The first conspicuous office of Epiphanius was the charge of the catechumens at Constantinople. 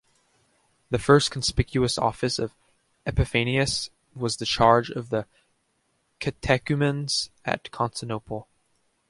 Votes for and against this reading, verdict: 1, 2, rejected